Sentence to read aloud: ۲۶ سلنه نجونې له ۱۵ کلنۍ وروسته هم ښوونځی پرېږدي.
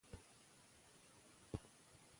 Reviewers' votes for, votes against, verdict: 0, 2, rejected